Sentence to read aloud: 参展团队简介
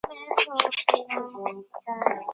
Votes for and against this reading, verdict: 3, 2, accepted